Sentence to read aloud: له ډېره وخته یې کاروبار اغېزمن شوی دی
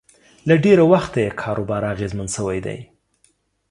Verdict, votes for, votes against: accepted, 2, 0